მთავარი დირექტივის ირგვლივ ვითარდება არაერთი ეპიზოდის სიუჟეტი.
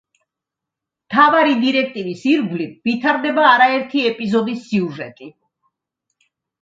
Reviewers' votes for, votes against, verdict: 2, 0, accepted